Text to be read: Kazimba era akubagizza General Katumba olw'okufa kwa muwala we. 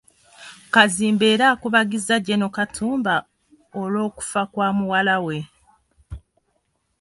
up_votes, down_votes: 2, 0